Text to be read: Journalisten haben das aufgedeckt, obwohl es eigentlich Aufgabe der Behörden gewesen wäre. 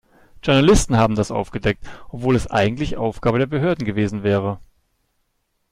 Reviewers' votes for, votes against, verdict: 2, 0, accepted